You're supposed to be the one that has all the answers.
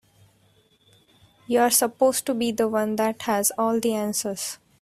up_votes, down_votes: 2, 1